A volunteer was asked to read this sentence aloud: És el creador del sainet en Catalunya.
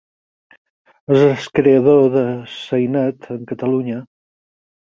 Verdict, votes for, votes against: rejected, 2, 4